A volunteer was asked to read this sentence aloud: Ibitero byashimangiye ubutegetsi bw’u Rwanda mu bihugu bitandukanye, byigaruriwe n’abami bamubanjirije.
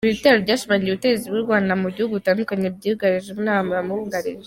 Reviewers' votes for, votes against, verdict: 2, 3, rejected